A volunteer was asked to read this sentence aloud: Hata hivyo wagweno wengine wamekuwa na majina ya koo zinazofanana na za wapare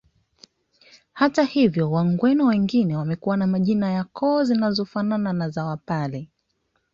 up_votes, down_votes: 2, 0